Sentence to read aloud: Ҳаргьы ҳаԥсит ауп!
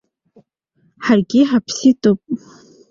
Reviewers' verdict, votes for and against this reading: accepted, 2, 1